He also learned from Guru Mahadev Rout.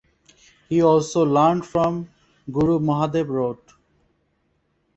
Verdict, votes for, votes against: accepted, 2, 0